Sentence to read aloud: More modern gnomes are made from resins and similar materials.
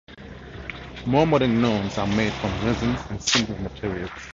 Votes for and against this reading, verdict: 2, 4, rejected